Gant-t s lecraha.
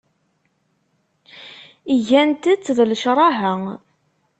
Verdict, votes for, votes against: rejected, 1, 2